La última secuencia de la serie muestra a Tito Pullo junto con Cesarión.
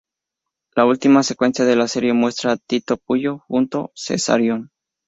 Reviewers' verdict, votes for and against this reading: rejected, 0, 2